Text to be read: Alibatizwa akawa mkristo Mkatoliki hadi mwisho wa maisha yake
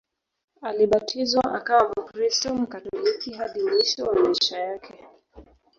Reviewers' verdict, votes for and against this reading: rejected, 0, 2